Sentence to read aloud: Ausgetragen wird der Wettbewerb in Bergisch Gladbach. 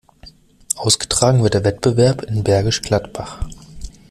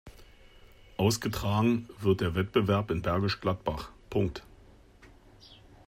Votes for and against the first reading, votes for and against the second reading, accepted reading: 2, 0, 1, 2, first